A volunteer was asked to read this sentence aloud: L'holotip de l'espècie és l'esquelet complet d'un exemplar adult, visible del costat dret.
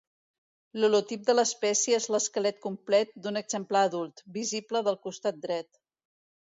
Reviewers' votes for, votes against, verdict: 2, 0, accepted